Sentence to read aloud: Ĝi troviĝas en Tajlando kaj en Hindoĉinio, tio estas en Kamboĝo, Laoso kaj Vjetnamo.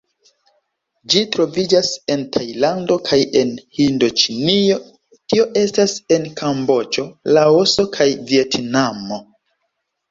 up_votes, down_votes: 1, 2